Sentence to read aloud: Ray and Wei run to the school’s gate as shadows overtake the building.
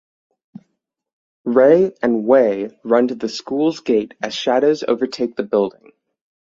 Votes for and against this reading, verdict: 6, 0, accepted